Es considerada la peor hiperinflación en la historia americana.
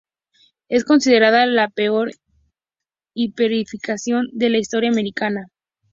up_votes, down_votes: 0, 2